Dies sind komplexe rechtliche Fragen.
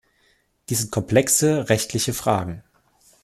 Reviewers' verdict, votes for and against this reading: rejected, 1, 2